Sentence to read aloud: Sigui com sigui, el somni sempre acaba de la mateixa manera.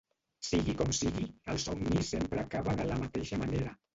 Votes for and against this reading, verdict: 1, 2, rejected